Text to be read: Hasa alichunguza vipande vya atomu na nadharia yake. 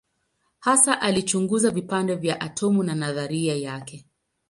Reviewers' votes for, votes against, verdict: 20, 0, accepted